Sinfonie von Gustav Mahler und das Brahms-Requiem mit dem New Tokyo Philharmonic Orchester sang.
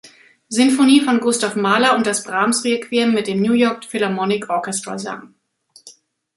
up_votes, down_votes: 2, 3